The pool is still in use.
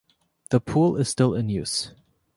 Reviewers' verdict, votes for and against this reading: accepted, 2, 0